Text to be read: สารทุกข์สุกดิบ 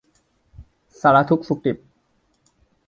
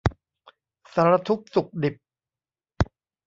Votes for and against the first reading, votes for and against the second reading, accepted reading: 2, 0, 1, 2, first